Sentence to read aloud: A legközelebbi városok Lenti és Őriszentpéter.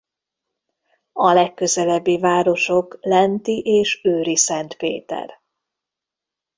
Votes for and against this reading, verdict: 1, 2, rejected